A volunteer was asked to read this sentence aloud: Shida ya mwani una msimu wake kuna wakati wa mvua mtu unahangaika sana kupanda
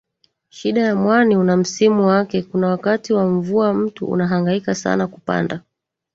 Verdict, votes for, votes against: rejected, 0, 3